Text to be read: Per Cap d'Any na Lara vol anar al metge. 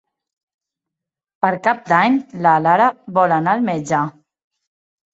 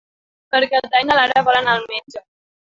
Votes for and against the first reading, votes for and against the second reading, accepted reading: 1, 3, 2, 1, second